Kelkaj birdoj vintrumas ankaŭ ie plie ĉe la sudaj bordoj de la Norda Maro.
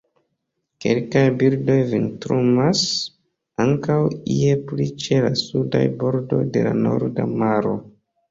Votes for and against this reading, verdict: 1, 2, rejected